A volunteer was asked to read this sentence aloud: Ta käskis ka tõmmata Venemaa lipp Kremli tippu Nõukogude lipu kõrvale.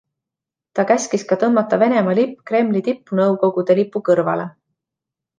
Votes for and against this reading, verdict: 2, 0, accepted